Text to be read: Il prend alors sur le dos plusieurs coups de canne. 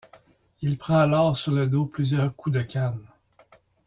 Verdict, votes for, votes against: accepted, 2, 0